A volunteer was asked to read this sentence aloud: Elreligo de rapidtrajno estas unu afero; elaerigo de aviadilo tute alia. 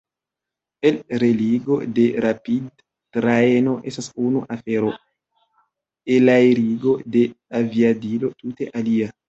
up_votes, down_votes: 0, 2